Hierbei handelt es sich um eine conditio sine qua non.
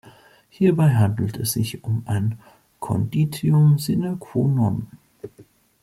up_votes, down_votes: 0, 2